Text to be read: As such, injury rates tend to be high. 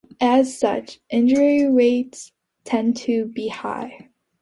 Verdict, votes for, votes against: accepted, 2, 0